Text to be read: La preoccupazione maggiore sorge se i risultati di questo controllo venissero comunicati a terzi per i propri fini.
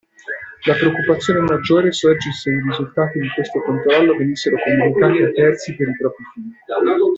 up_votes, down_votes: 0, 2